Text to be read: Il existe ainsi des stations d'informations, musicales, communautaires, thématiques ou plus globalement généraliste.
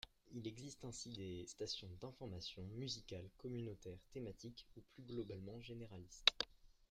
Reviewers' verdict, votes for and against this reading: rejected, 0, 2